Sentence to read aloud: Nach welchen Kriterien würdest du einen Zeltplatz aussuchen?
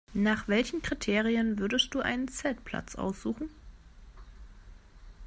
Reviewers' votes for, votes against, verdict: 2, 0, accepted